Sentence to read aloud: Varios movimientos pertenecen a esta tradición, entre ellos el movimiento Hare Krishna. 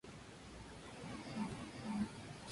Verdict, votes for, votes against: rejected, 0, 2